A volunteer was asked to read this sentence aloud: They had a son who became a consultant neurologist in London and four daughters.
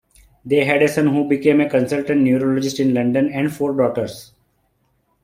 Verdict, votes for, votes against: accepted, 2, 1